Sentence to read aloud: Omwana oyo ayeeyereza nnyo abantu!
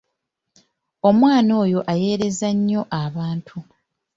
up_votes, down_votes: 3, 1